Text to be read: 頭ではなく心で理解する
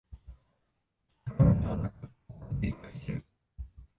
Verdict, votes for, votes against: rejected, 1, 2